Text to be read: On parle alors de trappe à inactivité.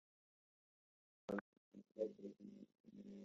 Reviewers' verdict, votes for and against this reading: rejected, 1, 2